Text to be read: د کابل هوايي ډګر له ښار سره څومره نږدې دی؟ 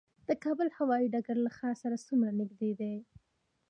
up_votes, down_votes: 2, 0